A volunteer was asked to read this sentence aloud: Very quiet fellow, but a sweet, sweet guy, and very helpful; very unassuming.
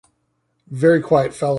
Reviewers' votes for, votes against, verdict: 1, 2, rejected